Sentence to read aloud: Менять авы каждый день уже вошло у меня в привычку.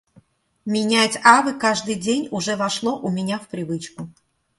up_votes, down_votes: 2, 0